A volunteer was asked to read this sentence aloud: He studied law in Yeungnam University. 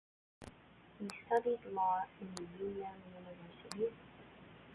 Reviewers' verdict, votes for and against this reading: rejected, 1, 2